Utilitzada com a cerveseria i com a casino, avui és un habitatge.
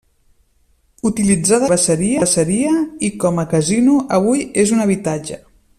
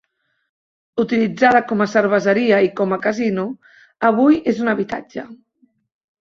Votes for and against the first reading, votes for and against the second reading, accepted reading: 0, 2, 3, 1, second